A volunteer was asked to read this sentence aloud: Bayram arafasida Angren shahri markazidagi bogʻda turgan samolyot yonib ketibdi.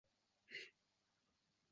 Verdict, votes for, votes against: rejected, 0, 2